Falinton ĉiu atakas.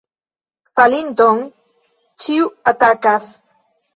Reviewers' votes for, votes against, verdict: 2, 0, accepted